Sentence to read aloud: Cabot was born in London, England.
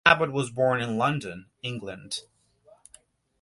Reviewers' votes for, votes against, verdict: 2, 0, accepted